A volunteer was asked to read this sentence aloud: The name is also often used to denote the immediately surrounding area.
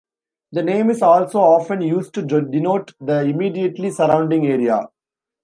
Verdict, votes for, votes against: rejected, 0, 3